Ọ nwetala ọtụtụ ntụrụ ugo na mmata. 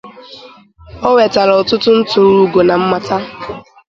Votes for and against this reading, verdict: 4, 0, accepted